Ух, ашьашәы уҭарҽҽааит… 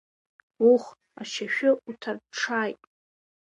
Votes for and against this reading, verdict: 1, 2, rejected